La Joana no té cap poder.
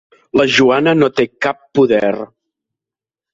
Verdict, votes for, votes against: accepted, 3, 0